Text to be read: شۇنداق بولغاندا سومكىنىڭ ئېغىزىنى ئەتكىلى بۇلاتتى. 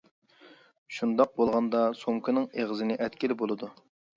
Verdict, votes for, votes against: rejected, 0, 2